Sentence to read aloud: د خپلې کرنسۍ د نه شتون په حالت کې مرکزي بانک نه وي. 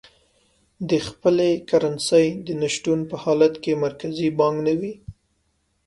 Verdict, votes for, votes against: accepted, 2, 0